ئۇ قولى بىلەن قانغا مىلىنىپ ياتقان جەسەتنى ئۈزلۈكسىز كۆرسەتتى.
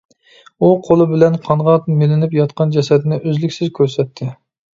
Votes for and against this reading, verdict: 2, 0, accepted